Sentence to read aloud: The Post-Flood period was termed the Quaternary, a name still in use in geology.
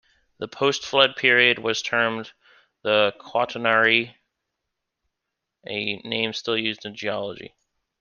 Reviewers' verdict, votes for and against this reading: rejected, 1, 2